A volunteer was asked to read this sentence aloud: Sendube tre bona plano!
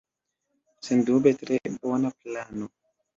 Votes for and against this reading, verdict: 2, 0, accepted